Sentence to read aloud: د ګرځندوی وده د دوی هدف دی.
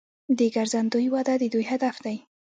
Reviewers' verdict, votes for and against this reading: accepted, 2, 1